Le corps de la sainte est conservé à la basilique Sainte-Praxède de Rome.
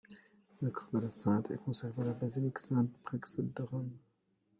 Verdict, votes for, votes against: rejected, 1, 2